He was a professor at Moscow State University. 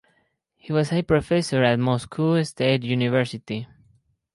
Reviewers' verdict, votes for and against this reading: accepted, 4, 0